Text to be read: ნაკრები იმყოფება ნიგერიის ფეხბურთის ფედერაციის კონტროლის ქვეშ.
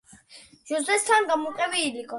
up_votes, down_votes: 0, 2